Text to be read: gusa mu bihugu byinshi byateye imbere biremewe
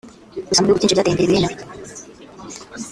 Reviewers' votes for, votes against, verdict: 0, 2, rejected